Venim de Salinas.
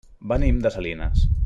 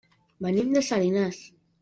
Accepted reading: first